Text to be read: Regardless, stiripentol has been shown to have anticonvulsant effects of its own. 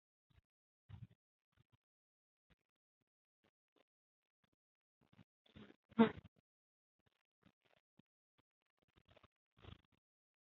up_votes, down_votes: 1, 2